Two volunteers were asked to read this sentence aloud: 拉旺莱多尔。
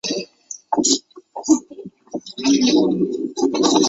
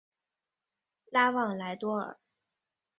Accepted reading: second